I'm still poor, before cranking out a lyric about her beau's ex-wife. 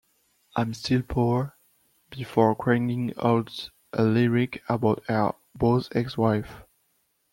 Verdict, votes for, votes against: rejected, 0, 2